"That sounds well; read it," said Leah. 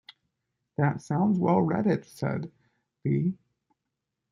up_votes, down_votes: 0, 2